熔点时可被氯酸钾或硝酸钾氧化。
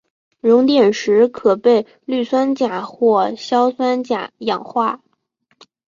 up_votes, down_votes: 3, 1